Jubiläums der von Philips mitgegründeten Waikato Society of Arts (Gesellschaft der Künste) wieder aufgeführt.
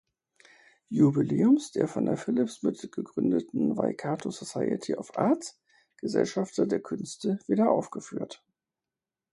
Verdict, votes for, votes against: rejected, 2, 4